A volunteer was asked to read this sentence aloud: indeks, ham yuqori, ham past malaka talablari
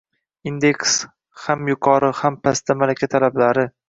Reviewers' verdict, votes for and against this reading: accepted, 2, 0